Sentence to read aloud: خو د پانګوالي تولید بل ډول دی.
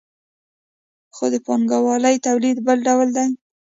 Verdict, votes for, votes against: accepted, 2, 0